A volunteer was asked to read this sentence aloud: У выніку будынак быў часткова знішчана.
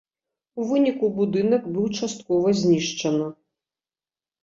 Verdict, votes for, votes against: accepted, 2, 0